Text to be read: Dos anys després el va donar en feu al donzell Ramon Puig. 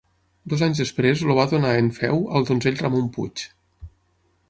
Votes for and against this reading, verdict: 0, 6, rejected